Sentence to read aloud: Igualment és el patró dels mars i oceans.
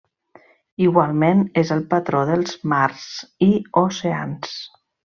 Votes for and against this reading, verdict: 2, 0, accepted